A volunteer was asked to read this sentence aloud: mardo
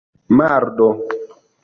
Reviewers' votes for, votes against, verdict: 2, 0, accepted